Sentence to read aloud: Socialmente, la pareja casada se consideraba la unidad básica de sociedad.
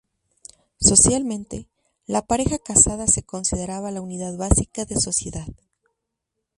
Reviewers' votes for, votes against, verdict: 4, 0, accepted